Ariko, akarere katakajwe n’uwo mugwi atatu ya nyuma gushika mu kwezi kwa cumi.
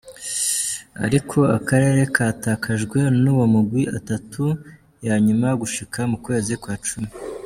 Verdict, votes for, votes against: accepted, 2, 1